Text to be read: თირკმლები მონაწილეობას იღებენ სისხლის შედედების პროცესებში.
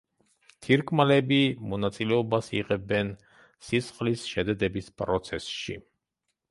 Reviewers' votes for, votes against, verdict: 0, 2, rejected